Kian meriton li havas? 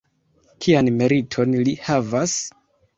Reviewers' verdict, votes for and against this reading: accepted, 3, 1